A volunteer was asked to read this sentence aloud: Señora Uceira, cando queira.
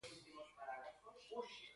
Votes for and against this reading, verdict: 0, 2, rejected